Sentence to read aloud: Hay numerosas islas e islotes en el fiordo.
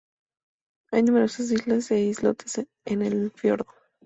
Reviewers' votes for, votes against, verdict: 2, 0, accepted